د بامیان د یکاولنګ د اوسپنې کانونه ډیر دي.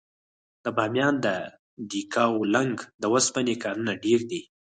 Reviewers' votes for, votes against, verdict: 4, 0, accepted